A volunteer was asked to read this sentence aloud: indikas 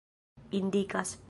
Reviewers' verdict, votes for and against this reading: rejected, 1, 2